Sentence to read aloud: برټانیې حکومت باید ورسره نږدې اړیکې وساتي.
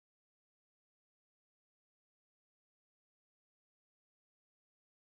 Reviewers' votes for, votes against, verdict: 0, 2, rejected